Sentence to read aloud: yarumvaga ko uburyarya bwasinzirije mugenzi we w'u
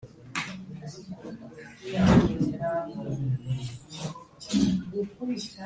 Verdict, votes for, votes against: rejected, 0, 2